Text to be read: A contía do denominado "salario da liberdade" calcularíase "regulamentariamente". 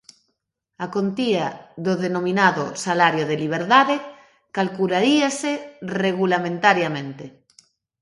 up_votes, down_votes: 0, 2